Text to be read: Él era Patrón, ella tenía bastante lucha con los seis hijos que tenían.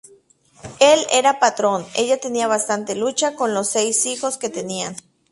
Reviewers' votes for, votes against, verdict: 0, 2, rejected